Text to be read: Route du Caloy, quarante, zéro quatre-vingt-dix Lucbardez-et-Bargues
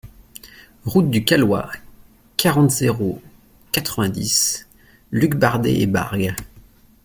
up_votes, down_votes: 2, 0